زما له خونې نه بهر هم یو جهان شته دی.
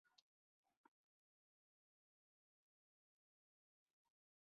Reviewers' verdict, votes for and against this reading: rejected, 1, 2